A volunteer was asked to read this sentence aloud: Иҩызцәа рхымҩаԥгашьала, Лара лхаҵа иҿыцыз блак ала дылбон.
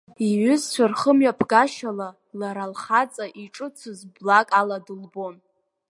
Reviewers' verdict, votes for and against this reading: accepted, 3, 0